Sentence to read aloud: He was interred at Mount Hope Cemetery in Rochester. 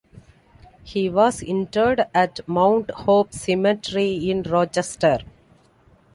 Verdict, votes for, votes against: accepted, 2, 1